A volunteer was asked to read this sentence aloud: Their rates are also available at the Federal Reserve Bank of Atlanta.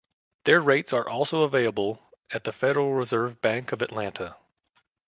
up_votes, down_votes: 2, 0